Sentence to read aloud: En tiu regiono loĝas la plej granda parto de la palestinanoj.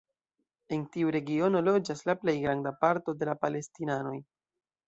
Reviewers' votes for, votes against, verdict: 2, 0, accepted